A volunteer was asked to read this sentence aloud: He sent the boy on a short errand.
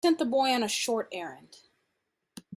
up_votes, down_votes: 0, 2